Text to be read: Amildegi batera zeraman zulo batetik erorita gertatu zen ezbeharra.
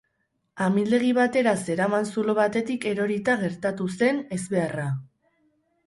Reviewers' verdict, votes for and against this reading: rejected, 2, 2